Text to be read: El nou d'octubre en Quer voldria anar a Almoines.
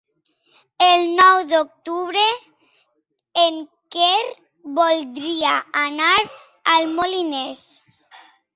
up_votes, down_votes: 1, 2